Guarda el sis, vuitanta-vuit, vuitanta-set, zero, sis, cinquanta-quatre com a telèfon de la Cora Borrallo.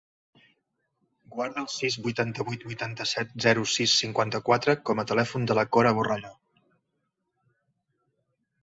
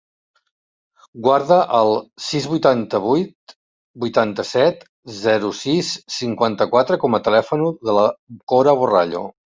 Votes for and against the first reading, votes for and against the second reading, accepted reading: 2, 0, 0, 2, first